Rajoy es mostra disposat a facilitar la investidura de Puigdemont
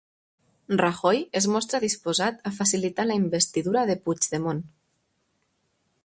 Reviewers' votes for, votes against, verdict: 3, 1, accepted